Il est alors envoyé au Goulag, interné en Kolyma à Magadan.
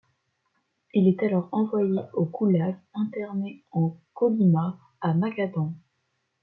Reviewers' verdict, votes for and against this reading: rejected, 0, 2